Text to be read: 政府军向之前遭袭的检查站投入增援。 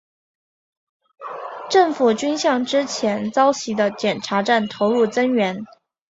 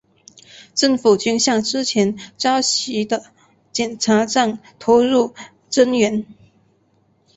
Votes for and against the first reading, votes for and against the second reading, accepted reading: 5, 1, 1, 2, first